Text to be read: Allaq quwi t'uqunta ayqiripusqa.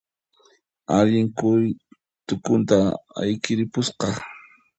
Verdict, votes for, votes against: rejected, 1, 2